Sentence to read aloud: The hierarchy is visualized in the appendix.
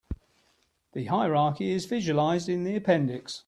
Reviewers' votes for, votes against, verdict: 2, 0, accepted